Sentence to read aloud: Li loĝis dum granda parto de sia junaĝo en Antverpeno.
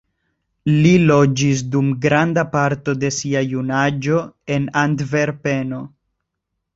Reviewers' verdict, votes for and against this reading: accepted, 2, 0